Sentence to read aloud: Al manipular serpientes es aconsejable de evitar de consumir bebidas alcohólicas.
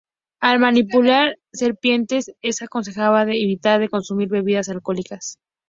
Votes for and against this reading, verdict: 2, 0, accepted